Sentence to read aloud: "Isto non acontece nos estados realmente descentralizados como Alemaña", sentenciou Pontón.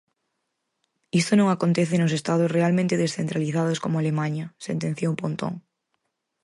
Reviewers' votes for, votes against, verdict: 0, 4, rejected